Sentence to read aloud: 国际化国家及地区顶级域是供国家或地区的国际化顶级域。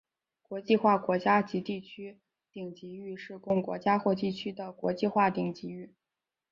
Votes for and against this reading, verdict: 3, 0, accepted